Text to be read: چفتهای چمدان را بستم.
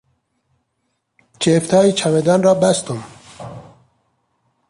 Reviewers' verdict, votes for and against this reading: rejected, 0, 2